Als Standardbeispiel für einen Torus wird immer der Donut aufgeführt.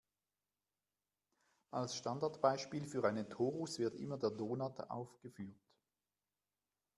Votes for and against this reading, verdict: 1, 2, rejected